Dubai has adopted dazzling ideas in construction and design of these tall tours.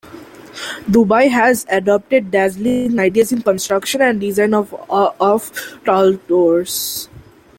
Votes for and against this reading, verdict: 0, 2, rejected